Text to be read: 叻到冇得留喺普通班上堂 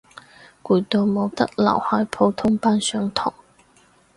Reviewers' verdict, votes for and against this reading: rejected, 0, 4